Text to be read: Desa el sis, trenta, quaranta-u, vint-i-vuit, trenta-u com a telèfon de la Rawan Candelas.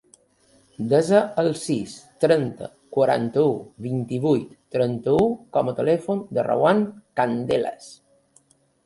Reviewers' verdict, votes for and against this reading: rejected, 1, 2